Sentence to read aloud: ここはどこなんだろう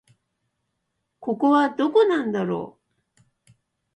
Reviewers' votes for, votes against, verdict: 2, 0, accepted